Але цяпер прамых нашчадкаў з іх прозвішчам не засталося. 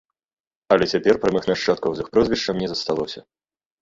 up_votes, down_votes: 0, 2